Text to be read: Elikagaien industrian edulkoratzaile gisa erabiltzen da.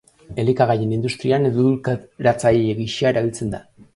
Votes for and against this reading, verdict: 0, 2, rejected